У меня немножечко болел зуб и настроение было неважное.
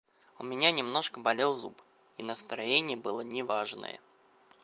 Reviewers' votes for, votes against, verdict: 0, 2, rejected